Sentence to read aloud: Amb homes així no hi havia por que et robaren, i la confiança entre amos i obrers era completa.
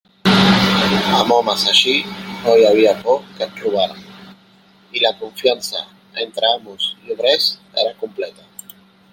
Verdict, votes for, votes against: rejected, 0, 2